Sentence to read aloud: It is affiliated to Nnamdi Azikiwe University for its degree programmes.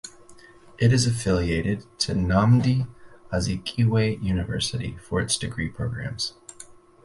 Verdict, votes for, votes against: rejected, 2, 2